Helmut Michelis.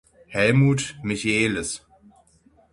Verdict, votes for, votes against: accepted, 6, 0